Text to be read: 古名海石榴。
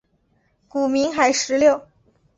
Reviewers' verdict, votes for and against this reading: accepted, 3, 0